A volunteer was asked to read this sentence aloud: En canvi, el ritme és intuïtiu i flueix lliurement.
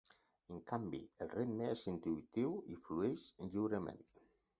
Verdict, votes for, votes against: rejected, 0, 4